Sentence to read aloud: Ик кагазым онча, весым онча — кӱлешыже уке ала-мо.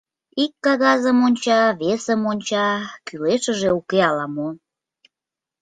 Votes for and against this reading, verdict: 2, 0, accepted